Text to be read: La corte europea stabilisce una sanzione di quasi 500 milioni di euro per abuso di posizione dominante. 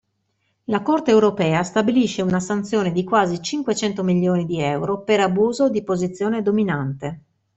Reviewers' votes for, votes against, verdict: 0, 2, rejected